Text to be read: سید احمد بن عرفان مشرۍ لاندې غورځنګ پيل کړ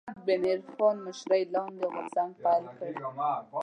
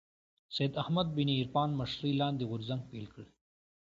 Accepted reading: second